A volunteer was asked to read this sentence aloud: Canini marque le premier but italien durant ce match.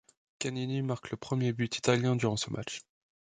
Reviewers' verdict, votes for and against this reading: accepted, 2, 0